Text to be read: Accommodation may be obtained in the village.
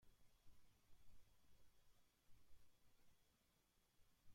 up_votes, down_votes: 0, 2